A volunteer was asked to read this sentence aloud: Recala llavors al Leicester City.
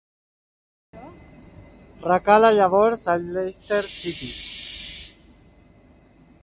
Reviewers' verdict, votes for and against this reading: rejected, 1, 2